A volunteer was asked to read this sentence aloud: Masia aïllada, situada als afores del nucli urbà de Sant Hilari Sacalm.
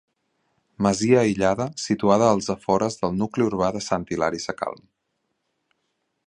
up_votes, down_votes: 2, 0